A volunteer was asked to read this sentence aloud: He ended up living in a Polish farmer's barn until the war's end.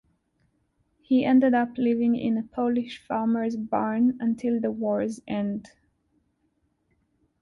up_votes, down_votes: 2, 0